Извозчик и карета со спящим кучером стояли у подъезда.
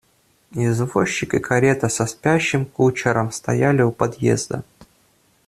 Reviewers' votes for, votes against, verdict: 2, 0, accepted